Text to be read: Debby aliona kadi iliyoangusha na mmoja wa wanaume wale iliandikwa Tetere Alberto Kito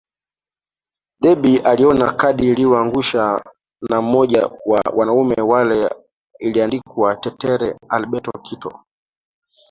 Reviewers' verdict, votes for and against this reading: rejected, 1, 2